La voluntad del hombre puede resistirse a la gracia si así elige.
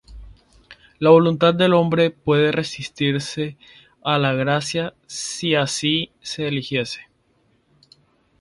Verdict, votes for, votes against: rejected, 0, 2